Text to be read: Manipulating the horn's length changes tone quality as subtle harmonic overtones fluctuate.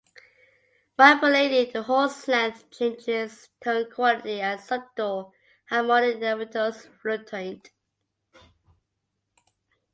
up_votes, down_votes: 2, 1